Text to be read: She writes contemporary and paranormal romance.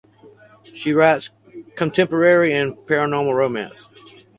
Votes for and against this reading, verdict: 4, 0, accepted